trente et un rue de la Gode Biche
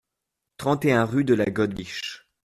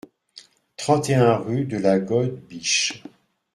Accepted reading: second